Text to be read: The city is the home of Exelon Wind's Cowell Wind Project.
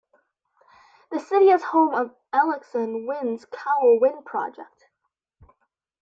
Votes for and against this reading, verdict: 1, 2, rejected